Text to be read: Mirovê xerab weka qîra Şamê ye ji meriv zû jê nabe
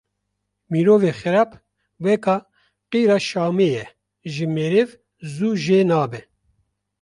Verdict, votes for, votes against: rejected, 1, 2